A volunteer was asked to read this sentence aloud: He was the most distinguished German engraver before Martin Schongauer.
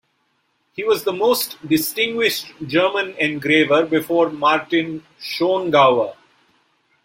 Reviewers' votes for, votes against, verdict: 2, 0, accepted